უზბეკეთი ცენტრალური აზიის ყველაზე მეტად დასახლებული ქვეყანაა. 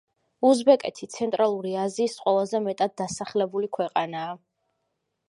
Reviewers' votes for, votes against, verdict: 2, 1, accepted